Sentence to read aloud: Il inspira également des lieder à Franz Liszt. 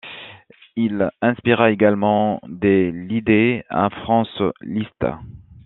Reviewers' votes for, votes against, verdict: 1, 2, rejected